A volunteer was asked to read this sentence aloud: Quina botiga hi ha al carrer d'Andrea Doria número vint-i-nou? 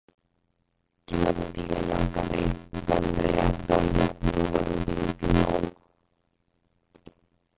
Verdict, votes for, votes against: rejected, 0, 4